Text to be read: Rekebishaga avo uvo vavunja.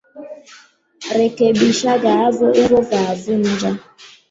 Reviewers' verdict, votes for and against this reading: rejected, 1, 4